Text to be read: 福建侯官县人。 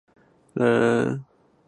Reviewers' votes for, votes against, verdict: 1, 3, rejected